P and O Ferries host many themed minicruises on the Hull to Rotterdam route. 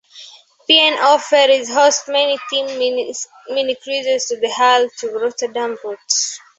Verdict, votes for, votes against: rejected, 1, 2